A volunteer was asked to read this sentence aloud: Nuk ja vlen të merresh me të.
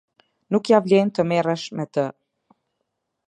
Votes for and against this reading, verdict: 2, 0, accepted